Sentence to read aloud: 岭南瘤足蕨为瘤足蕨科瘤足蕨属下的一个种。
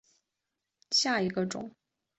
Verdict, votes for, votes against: rejected, 1, 4